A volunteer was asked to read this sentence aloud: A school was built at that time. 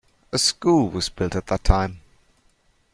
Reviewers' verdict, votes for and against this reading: accepted, 2, 0